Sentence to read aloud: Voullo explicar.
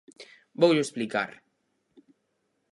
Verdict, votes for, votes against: accepted, 4, 0